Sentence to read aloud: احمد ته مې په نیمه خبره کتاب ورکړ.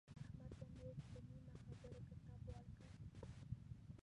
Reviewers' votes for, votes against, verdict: 0, 2, rejected